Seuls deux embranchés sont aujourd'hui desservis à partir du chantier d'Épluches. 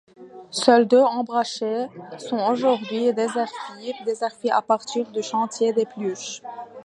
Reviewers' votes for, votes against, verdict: 0, 2, rejected